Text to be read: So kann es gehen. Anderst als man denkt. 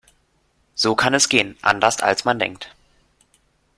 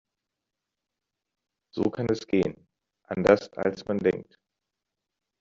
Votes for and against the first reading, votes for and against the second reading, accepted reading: 3, 0, 0, 2, first